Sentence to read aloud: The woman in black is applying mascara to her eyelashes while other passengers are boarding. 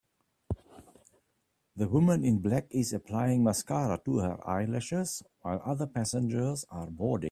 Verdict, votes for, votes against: accepted, 2, 1